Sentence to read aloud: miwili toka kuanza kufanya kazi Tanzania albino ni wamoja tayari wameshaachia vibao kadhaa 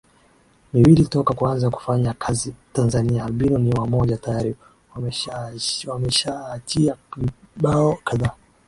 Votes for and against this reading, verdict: 0, 2, rejected